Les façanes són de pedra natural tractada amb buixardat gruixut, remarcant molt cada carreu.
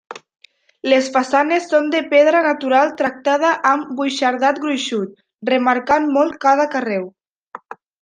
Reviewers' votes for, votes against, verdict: 1, 2, rejected